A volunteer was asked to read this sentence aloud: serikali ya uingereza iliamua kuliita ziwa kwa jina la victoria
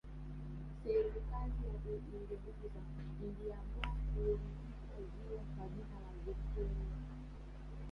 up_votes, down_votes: 2, 3